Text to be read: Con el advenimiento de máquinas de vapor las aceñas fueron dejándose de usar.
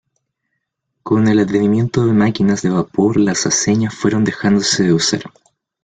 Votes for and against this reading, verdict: 1, 2, rejected